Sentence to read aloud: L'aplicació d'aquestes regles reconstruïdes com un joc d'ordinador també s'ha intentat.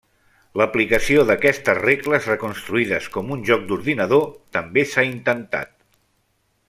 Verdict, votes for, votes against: accepted, 3, 0